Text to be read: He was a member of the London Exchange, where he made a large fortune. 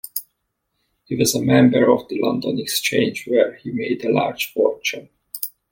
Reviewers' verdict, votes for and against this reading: accepted, 2, 0